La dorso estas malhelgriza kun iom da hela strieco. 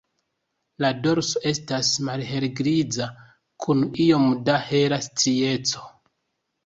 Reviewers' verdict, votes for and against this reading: rejected, 0, 2